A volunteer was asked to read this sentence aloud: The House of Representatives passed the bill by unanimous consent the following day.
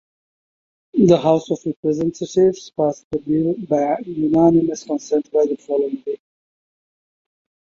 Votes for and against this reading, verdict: 1, 2, rejected